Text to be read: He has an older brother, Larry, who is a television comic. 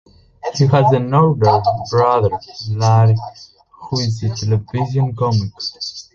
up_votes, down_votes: 0, 2